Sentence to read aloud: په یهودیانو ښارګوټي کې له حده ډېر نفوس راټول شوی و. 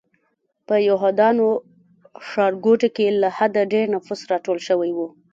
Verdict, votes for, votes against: rejected, 2, 3